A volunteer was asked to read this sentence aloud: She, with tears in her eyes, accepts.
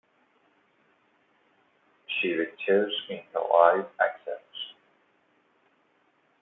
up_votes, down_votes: 2, 0